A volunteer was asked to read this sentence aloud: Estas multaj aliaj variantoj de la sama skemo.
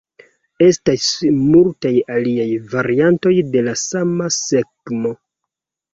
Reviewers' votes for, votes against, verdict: 2, 1, accepted